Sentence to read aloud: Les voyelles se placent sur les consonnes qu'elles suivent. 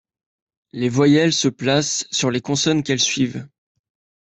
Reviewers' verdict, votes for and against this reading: accepted, 2, 0